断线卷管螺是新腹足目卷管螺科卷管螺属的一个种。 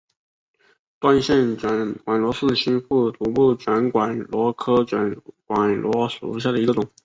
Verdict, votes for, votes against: accepted, 7, 0